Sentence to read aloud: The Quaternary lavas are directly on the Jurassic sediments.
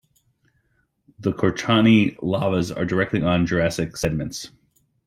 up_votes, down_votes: 1, 3